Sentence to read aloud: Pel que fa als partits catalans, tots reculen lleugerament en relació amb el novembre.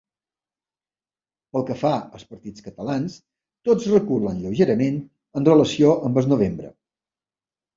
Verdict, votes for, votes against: rejected, 0, 2